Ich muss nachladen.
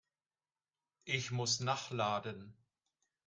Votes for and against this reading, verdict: 3, 1, accepted